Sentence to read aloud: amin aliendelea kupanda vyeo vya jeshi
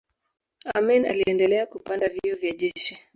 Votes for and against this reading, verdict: 1, 2, rejected